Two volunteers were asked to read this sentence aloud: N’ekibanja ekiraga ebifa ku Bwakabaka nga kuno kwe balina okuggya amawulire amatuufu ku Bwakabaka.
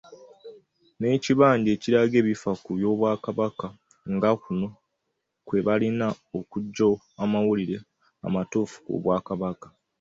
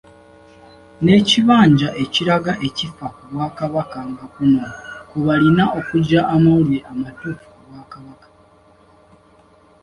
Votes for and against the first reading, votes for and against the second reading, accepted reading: 2, 1, 1, 2, first